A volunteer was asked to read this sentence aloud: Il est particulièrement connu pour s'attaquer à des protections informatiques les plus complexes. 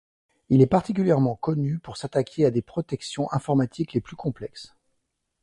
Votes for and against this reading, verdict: 2, 0, accepted